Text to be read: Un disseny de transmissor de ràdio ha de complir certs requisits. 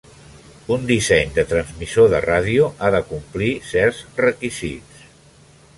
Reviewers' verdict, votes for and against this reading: accepted, 3, 1